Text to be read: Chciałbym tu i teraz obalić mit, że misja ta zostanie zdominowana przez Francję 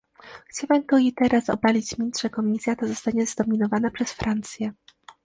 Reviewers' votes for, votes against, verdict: 0, 2, rejected